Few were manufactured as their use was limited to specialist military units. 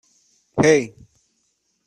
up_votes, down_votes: 0, 2